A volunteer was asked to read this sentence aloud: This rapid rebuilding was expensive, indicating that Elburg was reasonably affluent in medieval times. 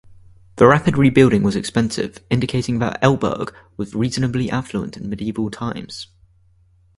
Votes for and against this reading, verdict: 2, 4, rejected